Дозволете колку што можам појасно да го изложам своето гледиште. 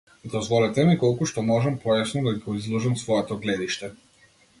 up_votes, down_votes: 1, 2